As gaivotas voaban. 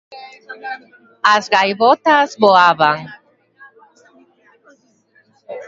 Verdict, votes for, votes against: rejected, 0, 2